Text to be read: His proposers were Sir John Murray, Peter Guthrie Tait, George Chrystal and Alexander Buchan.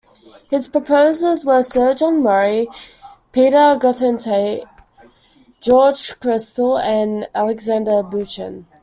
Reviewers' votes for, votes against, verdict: 1, 2, rejected